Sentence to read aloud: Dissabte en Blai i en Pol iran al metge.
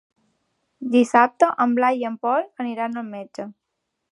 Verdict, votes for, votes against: rejected, 0, 2